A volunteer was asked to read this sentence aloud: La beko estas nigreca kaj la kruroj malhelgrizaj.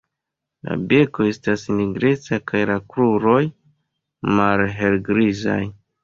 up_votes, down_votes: 1, 2